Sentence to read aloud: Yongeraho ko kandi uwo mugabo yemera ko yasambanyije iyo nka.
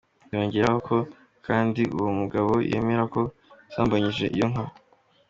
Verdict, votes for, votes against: accepted, 2, 0